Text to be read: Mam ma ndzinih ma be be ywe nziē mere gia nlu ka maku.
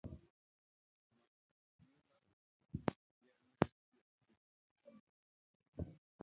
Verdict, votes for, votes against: rejected, 1, 2